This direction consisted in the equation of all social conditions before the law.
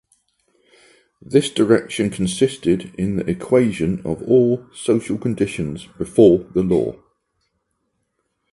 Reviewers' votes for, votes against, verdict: 6, 0, accepted